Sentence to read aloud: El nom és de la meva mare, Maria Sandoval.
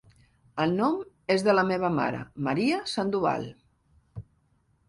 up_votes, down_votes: 2, 0